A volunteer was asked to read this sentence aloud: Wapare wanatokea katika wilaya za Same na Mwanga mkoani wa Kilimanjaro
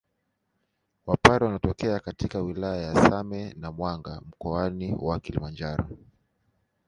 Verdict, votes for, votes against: accepted, 2, 1